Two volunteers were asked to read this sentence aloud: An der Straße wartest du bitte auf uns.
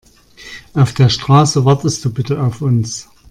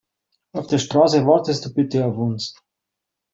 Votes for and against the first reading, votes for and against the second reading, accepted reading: 1, 2, 2, 1, second